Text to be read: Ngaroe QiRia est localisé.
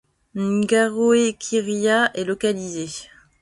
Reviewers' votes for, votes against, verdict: 2, 0, accepted